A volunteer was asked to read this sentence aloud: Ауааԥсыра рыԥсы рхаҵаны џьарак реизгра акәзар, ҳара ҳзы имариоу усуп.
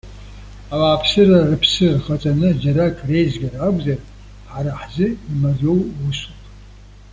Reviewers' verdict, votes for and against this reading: accepted, 2, 0